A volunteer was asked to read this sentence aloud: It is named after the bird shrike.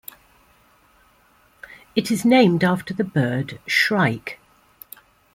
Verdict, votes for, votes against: accepted, 2, 1